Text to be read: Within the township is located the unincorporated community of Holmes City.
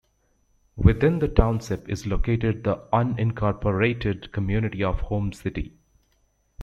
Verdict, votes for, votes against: accepted, 2, 1